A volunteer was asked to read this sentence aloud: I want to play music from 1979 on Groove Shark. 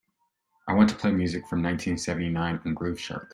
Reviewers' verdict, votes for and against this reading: rejected, 0, 2